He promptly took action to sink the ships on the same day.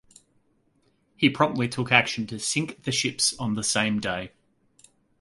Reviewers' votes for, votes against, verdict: 2, 0, accepted